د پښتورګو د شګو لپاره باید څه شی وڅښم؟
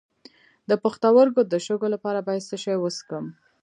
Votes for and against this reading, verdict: 2, 0, accepted